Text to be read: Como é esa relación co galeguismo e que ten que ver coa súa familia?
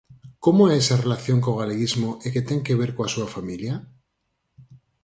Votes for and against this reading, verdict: 4, 0, accepted